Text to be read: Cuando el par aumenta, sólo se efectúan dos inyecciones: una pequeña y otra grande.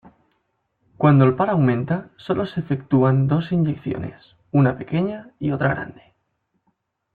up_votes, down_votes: 2, 0